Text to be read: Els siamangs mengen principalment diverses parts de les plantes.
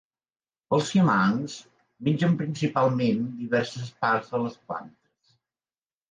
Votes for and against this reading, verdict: 2, 0, accepted